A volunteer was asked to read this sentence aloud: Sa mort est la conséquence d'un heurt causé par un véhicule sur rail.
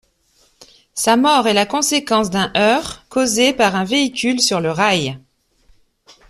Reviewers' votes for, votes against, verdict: 0, 2, rejected